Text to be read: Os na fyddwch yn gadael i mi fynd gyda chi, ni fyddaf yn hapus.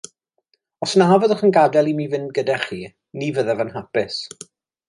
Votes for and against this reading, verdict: 2, 0, accepted